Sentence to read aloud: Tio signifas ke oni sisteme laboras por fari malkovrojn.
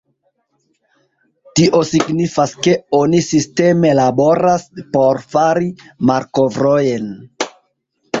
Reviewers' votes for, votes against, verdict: 0, 2, rejected